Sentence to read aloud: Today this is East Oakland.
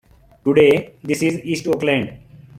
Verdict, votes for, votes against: accepted, 2, 0